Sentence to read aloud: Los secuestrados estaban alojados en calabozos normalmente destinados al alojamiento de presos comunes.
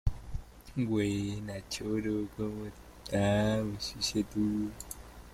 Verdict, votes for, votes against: rejected, 0, 2